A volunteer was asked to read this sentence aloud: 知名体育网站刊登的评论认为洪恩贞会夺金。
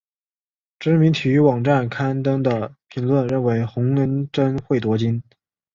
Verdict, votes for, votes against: accepted, 2, 0